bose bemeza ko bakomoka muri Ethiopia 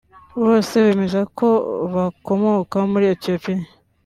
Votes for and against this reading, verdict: 2, 1, accepted